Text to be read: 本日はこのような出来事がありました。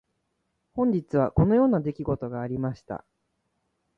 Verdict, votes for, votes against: rejected, 1, 2